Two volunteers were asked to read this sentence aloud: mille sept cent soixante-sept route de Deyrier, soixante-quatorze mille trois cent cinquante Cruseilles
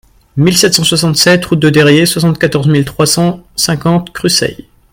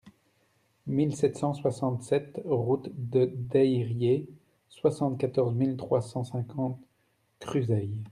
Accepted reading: second